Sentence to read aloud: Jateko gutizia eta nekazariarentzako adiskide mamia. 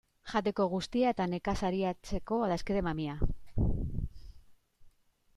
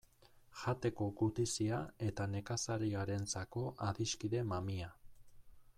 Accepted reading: second